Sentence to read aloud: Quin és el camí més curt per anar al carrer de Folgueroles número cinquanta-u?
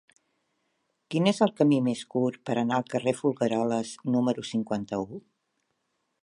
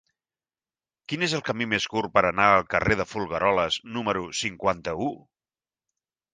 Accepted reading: second